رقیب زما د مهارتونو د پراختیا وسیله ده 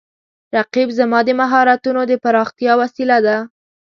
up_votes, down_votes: 2, 0